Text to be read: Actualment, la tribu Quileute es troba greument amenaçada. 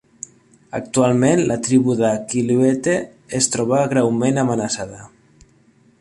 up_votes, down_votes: 0, 2